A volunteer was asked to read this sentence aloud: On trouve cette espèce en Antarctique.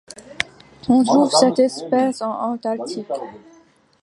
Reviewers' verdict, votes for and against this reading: rejected, 1, 2